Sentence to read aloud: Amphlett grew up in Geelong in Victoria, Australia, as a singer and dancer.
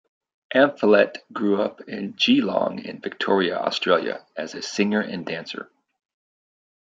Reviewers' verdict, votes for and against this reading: accepted, 2, 0